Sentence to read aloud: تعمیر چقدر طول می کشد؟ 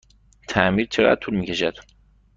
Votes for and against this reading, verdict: 3, 0, accepted